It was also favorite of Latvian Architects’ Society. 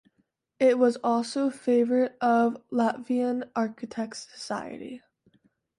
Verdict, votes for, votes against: accepted, 2, 0